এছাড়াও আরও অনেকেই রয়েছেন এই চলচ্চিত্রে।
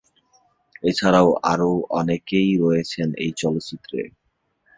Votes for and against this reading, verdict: 2, 0, accepted